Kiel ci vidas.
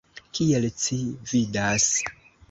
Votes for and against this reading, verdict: 1, 2, rejected